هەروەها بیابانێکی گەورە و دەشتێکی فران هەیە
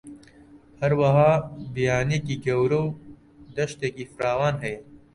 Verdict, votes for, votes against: rejected, 0, 2